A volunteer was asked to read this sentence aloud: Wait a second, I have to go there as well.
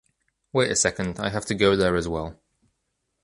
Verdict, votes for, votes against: accepted, 2, 0